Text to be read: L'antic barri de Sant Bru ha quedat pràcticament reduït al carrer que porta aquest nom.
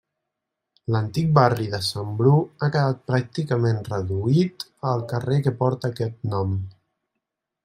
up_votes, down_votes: 3, 0